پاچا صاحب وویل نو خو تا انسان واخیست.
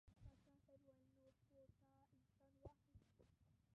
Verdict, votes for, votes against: rejected, 0, 3